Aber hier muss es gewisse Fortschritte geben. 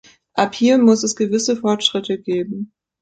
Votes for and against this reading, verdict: 1, 2, rejected